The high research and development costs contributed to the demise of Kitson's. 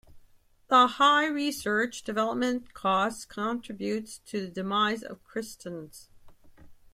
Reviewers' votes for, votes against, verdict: 0, 2, rejected